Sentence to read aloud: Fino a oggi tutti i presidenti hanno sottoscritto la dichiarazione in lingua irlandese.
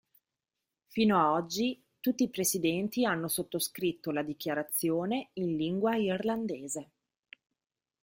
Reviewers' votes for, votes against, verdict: 2, 0, accepted